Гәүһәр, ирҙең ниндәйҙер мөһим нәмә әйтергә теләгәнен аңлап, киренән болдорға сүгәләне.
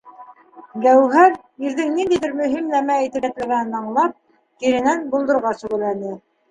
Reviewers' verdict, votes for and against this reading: rejected, 0, 2